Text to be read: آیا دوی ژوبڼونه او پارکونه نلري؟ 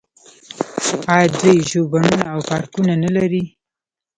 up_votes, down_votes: 1, 2